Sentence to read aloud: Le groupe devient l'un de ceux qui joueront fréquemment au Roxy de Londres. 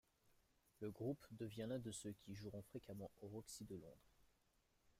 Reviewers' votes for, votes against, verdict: 2, 1, accepted